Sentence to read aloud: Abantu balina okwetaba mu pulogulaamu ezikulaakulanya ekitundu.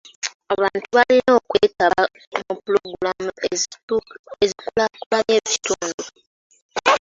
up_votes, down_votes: 1, 2